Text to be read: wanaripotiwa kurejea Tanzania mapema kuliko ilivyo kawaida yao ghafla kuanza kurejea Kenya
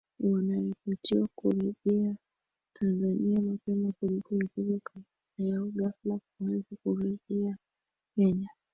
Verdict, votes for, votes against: rejected, 1, 2